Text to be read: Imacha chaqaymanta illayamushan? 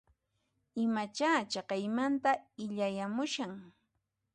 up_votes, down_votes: 2, 0